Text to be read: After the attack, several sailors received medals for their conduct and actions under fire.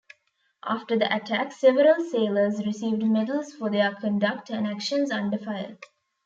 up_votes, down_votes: 2, 0